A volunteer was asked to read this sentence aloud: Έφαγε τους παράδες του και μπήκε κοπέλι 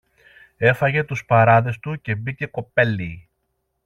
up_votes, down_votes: 2, 0